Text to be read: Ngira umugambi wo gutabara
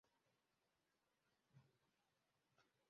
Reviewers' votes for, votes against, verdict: 0, 2, rejected